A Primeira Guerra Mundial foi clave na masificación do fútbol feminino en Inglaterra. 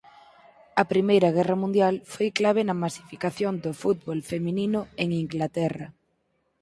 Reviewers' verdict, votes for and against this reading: accepted, 4, 0